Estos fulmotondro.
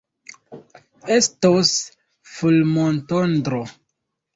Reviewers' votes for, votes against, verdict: 0, 2, rejected